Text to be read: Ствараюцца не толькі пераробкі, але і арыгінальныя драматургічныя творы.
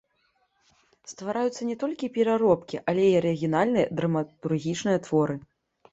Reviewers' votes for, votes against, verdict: 1, 2, rejected